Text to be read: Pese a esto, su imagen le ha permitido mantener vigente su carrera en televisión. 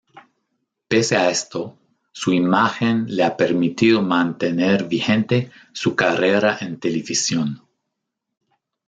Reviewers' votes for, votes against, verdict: 0, 2, rejected